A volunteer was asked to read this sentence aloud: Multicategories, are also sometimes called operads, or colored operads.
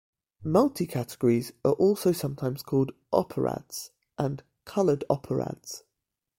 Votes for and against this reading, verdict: 0, 2, rejected